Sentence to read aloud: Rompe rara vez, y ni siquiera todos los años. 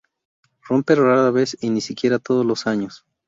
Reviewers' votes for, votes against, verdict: 2, 0, accepted